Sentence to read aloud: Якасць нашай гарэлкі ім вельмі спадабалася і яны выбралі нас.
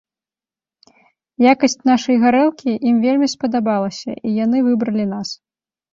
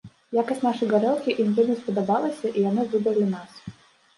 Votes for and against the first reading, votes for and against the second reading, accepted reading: 2, 0, 1, 2, first